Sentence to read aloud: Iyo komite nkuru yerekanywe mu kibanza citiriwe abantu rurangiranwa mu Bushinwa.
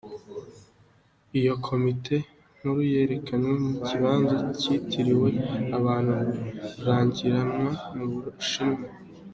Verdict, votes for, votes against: accepted, 2, 0